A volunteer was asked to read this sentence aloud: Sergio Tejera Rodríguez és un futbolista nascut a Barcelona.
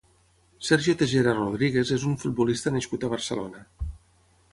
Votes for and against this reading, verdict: 0, 6, rejected